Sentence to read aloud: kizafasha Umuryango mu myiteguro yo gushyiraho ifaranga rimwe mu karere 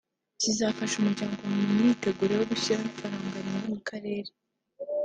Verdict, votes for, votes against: rejected, 1, 2